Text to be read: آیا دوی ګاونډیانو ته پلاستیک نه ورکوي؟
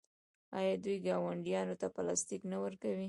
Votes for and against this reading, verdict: 0, 2, rejected